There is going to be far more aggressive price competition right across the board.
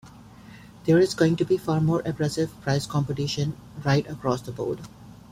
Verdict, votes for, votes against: accepted, 2, 0